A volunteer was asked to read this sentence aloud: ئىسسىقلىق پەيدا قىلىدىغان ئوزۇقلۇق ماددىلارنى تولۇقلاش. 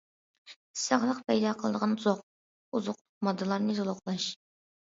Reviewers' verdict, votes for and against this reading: rejected, 0, 2